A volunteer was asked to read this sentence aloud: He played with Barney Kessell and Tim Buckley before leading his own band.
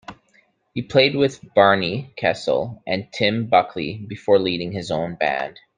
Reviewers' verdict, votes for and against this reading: accepted, 2, 0